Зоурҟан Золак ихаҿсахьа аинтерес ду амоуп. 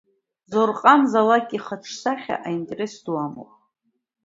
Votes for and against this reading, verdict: 2, 0, accepted